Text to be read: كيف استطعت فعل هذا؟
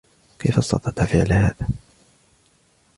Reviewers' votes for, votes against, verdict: 2, 0, accepted